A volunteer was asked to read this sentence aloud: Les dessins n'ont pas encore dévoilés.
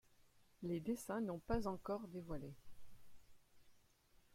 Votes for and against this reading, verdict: 2, 0, accepted